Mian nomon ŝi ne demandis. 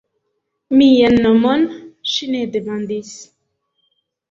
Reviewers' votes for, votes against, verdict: 2, 0, accepted